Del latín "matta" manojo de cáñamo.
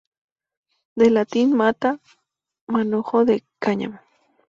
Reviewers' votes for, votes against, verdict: 2, 2, rejected